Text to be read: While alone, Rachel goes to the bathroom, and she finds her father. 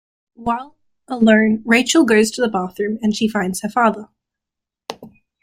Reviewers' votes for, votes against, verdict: 1, 2, rejected